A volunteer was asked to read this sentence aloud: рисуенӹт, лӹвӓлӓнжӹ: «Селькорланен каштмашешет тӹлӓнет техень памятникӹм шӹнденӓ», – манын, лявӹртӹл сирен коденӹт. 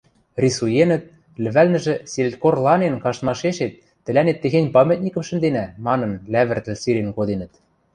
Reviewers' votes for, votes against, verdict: 1, 2, rejected